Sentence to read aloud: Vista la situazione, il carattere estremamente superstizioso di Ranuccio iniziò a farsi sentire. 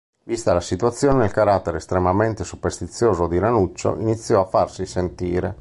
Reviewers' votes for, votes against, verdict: 2, 0, accepted